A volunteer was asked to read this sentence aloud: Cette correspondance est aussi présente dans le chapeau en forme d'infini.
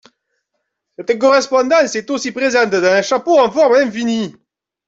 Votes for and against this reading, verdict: 0, 2, rejected